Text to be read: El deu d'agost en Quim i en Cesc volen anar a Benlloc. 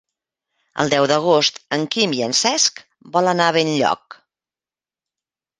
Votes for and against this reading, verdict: 0, 2, rejected